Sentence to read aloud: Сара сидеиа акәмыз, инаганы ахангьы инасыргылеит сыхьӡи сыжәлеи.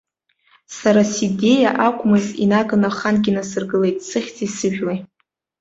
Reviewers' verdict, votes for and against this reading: accepted, 2, 1